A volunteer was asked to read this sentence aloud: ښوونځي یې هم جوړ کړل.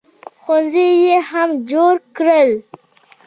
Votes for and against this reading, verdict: 2, 0, accepted